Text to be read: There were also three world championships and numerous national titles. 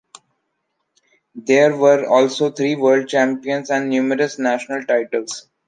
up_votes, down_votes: 1, 2